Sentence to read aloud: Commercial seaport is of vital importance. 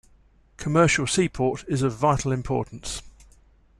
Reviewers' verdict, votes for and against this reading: accepted, 2, 0